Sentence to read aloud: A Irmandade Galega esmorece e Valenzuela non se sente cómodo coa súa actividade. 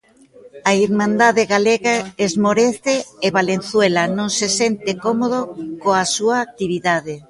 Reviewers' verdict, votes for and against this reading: accepted, 2, 0